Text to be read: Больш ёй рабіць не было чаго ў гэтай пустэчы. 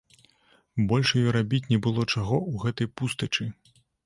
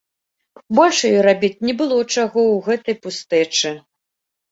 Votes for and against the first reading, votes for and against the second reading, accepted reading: 1, 2, 2, 0, second